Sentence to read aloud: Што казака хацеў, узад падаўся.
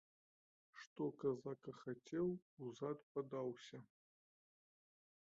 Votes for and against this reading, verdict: 1, 2, rejected